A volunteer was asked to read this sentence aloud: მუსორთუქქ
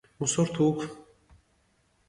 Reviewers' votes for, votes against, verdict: 0, 2, rejected